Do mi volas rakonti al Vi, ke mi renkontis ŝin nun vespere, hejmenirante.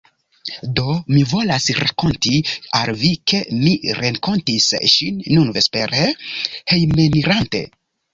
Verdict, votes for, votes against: accepted, 2, 0